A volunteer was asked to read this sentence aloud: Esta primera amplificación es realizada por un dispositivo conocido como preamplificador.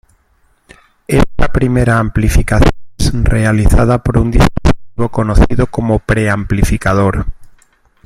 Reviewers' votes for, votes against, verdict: 0, 2, rejected